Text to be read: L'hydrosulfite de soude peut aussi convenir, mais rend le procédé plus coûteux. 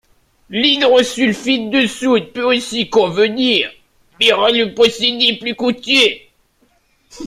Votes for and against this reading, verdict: 0, 2, rejected